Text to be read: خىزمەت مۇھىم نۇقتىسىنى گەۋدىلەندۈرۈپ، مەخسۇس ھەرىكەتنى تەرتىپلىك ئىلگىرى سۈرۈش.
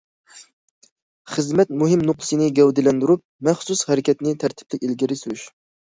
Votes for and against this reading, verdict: 2, 0, accepted